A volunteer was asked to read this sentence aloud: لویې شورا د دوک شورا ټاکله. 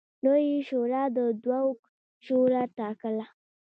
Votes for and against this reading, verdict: 2, 1, accepted